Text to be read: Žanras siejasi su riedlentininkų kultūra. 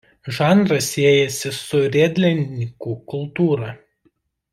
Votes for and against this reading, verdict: 1, 2, rejected